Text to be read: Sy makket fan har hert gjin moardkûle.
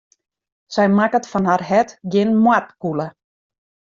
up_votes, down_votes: 2, 0